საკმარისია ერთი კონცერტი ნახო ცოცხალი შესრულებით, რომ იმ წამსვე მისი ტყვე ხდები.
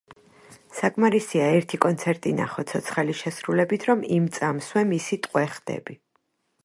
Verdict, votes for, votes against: accepted, 2, 1